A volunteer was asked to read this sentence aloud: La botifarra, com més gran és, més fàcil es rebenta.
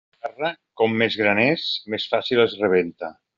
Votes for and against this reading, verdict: 0, 2, rejected